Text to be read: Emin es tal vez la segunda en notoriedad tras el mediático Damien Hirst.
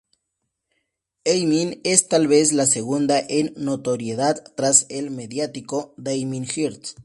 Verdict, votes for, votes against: accepted, 2, 0